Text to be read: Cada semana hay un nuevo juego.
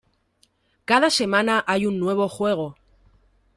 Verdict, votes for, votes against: accepted, 2, 0